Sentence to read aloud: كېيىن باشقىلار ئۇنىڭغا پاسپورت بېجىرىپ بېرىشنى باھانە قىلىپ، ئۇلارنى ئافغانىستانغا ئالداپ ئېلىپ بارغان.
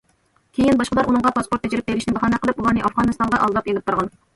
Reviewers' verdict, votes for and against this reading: accepted, 2, 0